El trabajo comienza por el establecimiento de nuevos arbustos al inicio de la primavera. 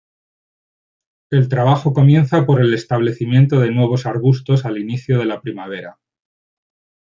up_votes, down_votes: 3, 0